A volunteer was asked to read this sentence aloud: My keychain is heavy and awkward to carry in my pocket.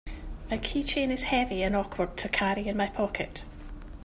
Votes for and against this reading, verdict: 2, 0, accepted